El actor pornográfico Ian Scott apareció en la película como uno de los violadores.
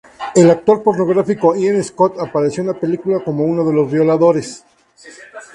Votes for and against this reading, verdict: 2, 0, accepted